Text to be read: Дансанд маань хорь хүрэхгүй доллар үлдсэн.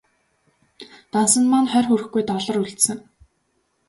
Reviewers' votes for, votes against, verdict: 1, 2, rejected